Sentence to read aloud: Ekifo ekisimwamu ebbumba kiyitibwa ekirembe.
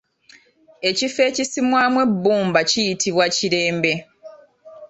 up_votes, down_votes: 2, 0